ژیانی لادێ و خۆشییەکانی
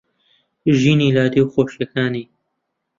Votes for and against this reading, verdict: 0, 2, rejected